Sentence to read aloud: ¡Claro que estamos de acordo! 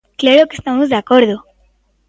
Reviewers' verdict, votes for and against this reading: rejected, 0, 2